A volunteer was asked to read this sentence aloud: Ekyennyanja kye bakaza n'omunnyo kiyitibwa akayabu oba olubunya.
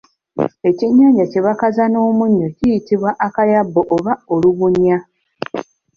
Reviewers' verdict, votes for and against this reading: accepted, 2, 0